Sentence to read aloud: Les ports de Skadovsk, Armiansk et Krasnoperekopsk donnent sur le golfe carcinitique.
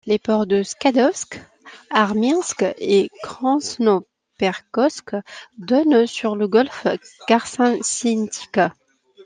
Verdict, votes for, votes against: rejected, 1, 2